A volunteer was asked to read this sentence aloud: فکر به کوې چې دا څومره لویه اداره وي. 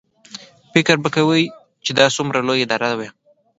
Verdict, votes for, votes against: accepted, 2, 0